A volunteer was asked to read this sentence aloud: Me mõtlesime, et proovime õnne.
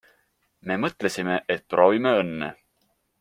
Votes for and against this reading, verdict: 2, 0, accepted